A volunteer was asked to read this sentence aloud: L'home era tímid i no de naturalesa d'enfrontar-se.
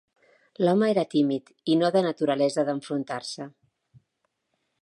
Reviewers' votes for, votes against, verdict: 2, 0, accepted